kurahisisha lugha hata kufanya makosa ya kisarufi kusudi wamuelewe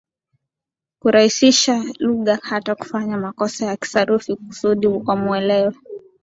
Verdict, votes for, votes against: rejected, 3, 5